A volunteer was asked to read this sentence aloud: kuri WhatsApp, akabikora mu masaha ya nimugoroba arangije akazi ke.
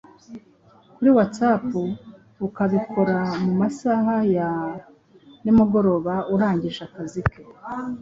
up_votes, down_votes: 1, 2